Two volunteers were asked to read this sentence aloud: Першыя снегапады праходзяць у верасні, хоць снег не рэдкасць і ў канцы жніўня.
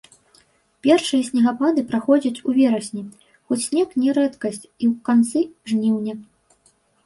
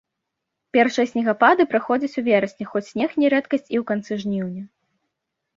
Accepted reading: second